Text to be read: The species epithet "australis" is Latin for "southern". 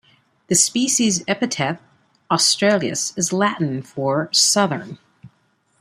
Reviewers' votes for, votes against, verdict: 1, 2, rejected